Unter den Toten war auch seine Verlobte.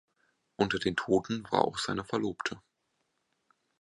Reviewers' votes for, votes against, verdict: 2, 0, accepted